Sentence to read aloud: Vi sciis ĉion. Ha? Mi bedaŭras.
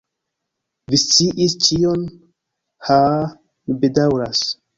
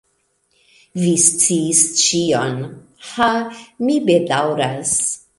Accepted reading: second